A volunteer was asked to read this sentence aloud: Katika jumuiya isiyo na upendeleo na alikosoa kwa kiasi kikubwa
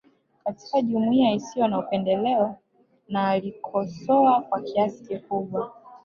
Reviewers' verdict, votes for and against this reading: accepted, 2, 0